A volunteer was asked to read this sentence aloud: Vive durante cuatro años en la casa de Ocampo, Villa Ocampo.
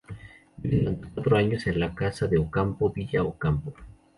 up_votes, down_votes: 0, 2